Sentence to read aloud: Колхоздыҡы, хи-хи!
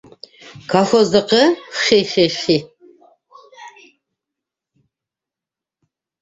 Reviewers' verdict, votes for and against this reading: rejected, 0, 2